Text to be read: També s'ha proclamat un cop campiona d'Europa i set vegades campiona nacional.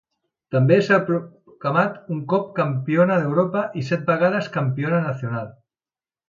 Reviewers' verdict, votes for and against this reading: rejected, 1, 2